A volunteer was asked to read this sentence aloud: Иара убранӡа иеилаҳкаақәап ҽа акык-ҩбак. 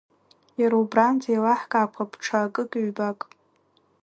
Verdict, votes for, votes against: accepted, 2, 1